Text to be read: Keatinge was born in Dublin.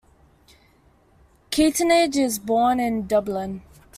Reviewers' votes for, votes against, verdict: 0, 2, rejected